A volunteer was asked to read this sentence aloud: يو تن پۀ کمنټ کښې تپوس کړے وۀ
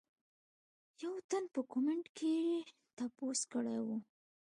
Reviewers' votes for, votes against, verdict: 2, 0, accepted